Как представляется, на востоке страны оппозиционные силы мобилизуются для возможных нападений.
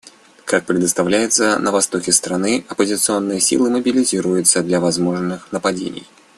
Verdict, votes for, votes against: rejected, 0, 2